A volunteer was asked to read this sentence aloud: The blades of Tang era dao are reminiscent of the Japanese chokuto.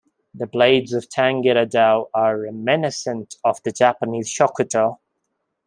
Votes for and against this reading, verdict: 1, 2, rejected